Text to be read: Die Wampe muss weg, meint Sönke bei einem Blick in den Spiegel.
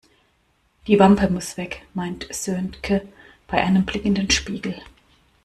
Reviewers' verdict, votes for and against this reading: rejected, 0, 2